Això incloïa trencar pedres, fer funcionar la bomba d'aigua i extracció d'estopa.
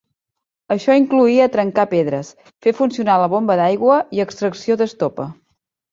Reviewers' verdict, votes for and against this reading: accepted, 4, 0